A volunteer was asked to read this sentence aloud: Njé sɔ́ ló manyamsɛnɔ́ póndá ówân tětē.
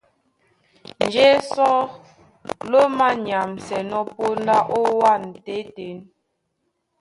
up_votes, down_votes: 2, 0